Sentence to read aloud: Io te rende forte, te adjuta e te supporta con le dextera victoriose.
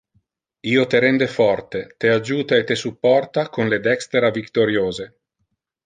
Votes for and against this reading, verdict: 2, 0, accepted